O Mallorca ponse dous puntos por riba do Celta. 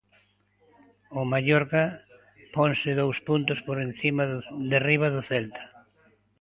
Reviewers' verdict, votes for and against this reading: rejected, 0, 2